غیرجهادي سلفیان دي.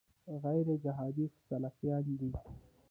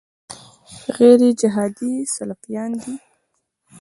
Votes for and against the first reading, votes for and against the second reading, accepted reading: 0, 2, 2, 0, second